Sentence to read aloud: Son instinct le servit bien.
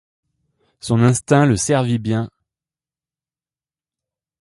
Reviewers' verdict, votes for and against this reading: accepted, 2, 0